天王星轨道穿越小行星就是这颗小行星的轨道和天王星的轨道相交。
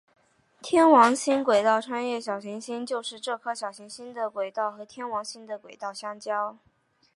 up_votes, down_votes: 3, 1